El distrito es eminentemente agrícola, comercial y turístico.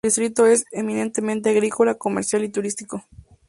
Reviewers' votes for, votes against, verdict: 2, 0, accepted